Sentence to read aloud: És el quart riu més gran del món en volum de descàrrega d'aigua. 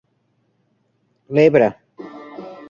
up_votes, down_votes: 1, 2